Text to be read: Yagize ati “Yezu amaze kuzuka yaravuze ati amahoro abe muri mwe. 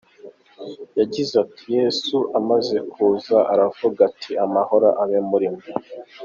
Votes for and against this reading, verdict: 0, 2, rejected